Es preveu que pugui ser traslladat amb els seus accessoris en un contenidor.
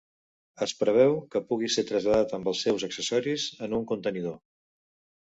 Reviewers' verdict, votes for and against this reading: accepted, 2, 0